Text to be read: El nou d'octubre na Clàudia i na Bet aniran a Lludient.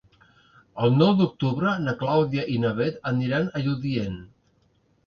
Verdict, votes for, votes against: accepted, 2, 0